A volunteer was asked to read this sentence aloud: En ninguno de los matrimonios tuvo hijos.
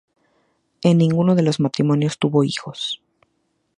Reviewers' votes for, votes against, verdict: 4, 0, accepted